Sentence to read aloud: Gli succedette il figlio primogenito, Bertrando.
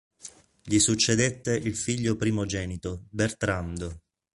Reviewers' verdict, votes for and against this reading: accepted, 2, 0